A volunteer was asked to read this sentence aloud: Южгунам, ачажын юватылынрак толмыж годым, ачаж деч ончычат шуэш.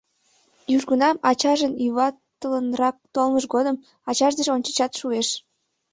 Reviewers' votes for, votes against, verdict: 2, 0, accepted